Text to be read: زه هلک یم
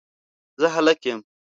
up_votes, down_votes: 2, 0